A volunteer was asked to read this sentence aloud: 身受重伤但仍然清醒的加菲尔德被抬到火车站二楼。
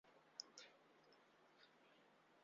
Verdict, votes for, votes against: accepted, 2, 1